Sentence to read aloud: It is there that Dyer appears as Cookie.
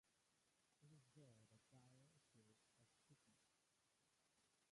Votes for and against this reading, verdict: 1, 2, rejected